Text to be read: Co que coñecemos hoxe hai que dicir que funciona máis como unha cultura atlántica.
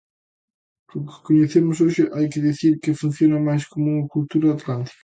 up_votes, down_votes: 2, 0